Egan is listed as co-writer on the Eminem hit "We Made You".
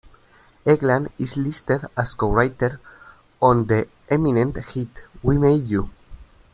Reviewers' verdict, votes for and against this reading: accepted, 2, 1